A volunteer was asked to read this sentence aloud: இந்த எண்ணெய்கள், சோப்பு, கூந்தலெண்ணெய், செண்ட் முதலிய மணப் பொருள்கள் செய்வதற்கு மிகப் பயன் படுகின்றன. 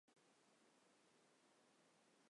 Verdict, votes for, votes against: rejected, 1, 2